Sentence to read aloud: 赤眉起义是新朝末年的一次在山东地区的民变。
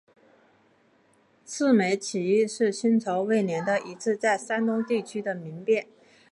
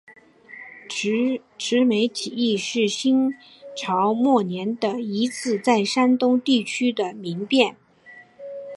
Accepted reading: second